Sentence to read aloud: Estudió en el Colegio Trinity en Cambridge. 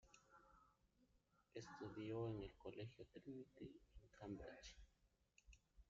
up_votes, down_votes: 0, 2